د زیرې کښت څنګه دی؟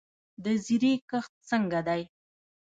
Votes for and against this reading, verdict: 0, 2, rejected